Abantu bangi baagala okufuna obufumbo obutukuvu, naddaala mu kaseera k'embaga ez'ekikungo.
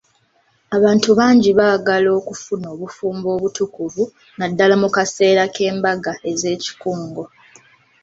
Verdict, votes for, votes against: accepted, 2, 1